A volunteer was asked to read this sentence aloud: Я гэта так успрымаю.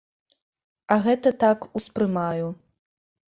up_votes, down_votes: 0, 2